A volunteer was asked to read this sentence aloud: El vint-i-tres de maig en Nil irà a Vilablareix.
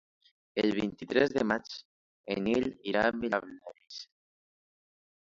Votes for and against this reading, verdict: 0, 2, rejected